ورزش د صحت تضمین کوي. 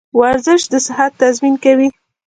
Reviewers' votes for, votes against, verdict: 2, 1, accepted